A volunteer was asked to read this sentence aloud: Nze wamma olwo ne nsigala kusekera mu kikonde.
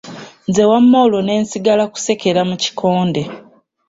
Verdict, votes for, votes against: accepted, 3, 0